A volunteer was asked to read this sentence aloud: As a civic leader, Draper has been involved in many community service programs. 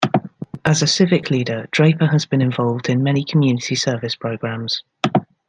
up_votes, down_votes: 1, 2